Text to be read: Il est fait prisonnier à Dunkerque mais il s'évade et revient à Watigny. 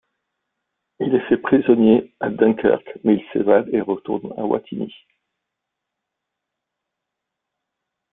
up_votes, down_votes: 0, 2